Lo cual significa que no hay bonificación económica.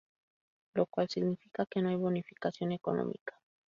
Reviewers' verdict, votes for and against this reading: accepted, 2, 0